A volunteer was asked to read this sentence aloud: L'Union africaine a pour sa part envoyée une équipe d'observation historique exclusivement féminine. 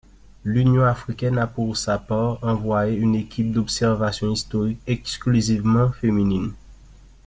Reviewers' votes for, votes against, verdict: 2, 0, accepted